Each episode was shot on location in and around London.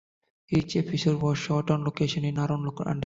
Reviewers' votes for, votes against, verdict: 0, 2, rejected